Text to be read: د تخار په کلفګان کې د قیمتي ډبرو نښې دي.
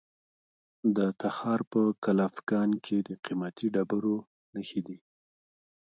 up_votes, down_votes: 1, 2